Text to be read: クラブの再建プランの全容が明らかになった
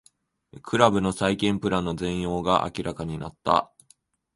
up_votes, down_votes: 2, 0